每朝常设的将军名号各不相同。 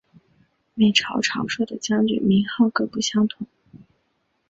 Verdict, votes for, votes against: accepted, 3, 0